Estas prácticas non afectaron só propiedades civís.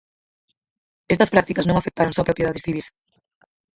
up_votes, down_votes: 0, 4